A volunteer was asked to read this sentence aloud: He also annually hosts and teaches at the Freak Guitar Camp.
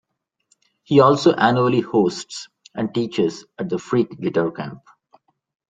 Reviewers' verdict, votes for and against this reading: accepted, 2, 0